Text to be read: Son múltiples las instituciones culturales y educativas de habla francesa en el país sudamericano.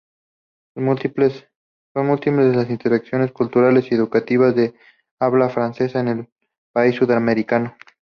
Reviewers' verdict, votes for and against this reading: rejected, 0, 2